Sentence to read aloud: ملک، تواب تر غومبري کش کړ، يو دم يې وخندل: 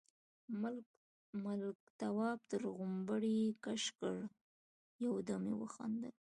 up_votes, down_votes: 2, 0